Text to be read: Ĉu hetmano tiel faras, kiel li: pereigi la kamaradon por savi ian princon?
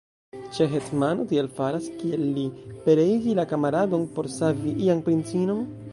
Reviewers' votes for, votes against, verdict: 1, 2, rejected